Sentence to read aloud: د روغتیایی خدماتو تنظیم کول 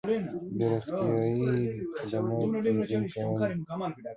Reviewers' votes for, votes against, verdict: 1, 2, rejected